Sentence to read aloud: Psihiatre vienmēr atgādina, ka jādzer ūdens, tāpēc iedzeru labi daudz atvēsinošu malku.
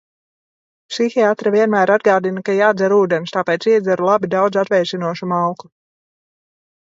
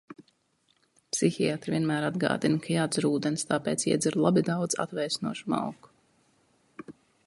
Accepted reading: second